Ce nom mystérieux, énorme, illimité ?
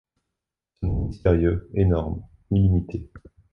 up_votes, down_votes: 1, 2